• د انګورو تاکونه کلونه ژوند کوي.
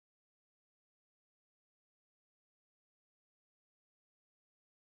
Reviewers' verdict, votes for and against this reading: rejected, 0, 2